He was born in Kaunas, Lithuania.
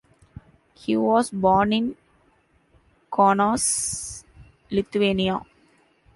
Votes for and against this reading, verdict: 1, 2, rejected